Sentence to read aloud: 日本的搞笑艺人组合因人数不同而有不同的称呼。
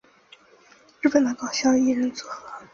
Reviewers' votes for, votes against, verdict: 1, 3, rejected